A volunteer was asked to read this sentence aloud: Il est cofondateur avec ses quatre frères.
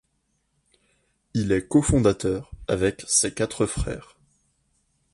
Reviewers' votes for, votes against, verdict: 2, 0, accepted